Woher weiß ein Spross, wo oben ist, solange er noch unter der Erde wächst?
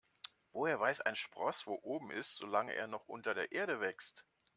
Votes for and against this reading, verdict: 2, 0, accepted